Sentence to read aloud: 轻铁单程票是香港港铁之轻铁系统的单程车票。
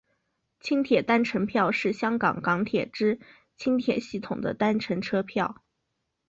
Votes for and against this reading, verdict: 7, 0, accepted